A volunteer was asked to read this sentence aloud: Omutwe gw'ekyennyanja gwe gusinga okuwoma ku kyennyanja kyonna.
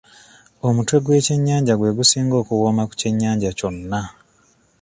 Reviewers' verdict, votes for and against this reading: accepted, 2, 0